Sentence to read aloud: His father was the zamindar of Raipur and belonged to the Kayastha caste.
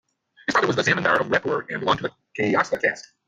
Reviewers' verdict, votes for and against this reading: rejected, 0, 2